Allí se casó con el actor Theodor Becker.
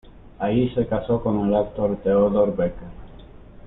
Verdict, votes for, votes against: rejected, 1, 2